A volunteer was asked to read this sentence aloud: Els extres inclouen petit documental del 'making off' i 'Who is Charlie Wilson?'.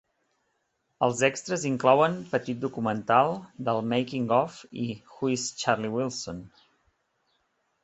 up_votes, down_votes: 4, 0